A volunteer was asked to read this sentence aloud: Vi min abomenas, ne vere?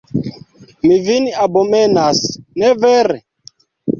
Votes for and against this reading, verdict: 2, 0, accepted